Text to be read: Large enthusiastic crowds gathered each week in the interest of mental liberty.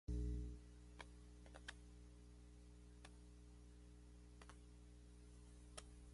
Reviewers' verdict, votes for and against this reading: rejected, 1, 2